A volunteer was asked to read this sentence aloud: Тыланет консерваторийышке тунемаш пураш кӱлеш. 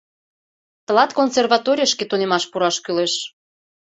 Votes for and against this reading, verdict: 1, 2, rejected